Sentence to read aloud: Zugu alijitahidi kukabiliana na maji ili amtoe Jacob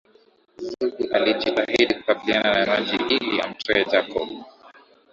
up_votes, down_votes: 2, 5